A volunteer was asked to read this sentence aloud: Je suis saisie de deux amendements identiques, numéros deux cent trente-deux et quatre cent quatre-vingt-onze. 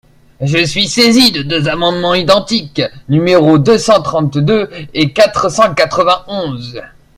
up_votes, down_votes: 1, 2